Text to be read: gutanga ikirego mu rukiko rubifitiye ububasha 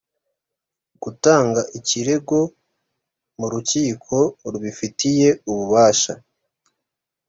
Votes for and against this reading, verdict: 3, 0, accepted